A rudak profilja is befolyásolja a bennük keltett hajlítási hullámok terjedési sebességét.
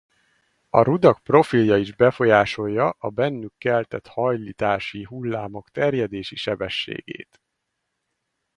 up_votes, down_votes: 2, 2